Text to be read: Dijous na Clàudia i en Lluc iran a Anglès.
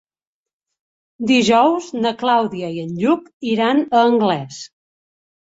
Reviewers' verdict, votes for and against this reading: accepted, 3, 0